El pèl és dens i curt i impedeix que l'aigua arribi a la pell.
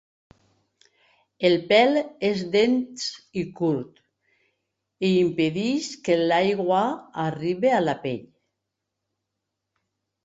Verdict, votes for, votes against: rejected, 0, 2